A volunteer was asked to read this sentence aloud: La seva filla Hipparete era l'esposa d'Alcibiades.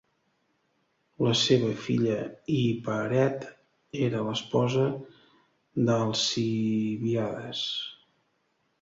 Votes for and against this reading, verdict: 1, 2, rejected